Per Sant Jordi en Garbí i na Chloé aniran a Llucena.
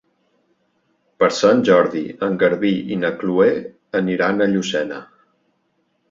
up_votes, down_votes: 3, 0